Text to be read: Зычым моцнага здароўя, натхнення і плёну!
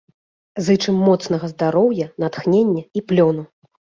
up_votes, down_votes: 2, 0